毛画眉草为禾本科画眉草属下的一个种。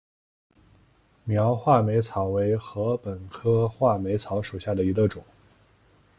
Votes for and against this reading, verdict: 0, 2, rejected